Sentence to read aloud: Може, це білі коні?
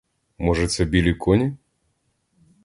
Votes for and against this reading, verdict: 2, 0, accepted